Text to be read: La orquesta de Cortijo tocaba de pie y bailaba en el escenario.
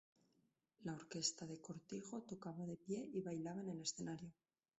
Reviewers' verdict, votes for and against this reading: rejected, 0, 2